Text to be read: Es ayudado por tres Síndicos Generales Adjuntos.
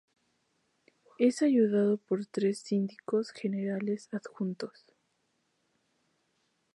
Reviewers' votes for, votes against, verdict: 0, 2, rejected